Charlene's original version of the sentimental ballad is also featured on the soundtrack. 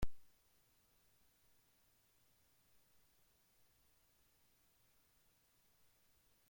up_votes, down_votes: 0, 2